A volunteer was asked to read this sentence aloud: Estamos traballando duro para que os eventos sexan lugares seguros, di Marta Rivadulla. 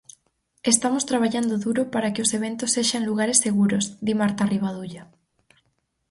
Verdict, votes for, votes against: accepted, 4, 0